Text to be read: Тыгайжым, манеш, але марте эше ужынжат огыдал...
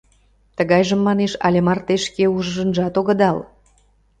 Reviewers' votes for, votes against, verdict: 0, 2, rejected